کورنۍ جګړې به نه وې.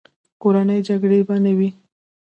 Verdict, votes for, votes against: rejected, 0, 2